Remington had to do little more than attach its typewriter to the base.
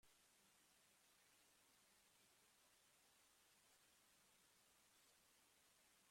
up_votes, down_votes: 0, 2